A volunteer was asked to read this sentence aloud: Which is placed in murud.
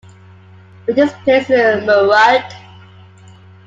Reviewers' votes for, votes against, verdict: 2, 0, accepted